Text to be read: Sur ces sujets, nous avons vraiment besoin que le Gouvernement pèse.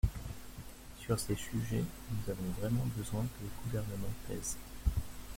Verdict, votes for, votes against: rejected, 0, 2